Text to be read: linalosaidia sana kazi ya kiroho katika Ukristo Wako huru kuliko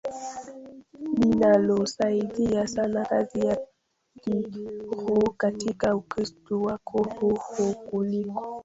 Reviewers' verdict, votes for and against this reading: rejected, 0, 2